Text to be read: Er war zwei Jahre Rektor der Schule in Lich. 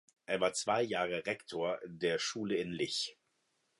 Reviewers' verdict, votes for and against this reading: accepted, 2, 0